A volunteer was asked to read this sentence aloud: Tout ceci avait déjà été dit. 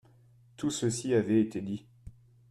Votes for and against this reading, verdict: 0, 2, rejected